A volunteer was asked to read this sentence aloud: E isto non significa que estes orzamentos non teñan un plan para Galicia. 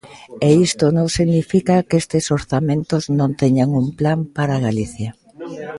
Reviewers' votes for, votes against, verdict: 0, 2, rejected